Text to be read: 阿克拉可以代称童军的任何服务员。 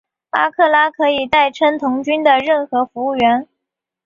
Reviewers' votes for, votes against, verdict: 1, 2, rejected